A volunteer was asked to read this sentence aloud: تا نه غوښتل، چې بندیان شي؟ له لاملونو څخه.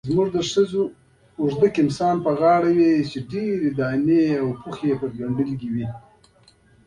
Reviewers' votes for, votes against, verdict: 0, 2, rejected